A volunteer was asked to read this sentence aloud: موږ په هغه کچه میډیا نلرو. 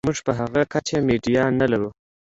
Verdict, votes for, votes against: accepted, 2, 0